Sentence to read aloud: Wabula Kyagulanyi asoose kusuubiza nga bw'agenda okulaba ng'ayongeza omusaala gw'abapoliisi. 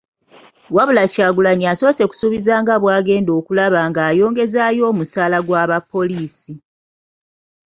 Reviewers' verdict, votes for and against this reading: rejected, 0, 2